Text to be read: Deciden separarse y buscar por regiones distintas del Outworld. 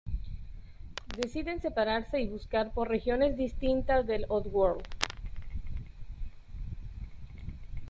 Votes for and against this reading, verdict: 0, 2, rejected